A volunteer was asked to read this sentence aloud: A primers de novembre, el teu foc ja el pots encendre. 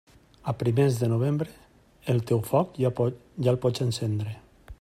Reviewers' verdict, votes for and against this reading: rejected, 0, 2